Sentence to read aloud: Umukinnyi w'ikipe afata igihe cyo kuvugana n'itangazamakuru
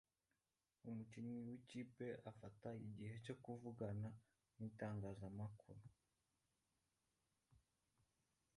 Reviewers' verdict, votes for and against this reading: rejected, 1, 2